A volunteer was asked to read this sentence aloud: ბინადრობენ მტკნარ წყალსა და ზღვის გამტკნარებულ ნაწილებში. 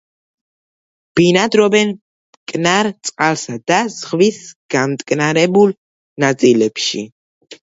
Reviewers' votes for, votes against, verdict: 2, 0, accepted